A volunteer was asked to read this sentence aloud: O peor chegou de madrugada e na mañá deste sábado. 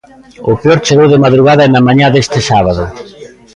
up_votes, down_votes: 2, 0